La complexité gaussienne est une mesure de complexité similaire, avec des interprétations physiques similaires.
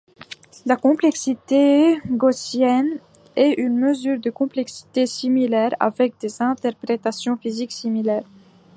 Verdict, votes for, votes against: accepted, 2, 0